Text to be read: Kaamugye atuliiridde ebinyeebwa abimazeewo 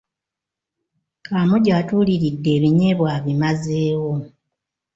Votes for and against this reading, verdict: 1, 2, rejected